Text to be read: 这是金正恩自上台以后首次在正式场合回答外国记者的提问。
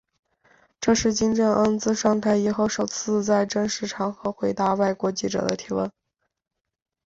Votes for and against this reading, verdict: 12, 0, accepted